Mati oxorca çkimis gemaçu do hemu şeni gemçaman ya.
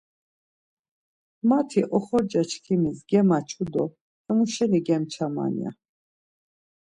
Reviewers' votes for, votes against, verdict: 2, 0, accepted